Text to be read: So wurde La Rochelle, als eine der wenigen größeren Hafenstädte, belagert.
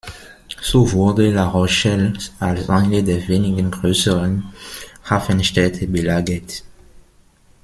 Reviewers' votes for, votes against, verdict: 1, 2, rejected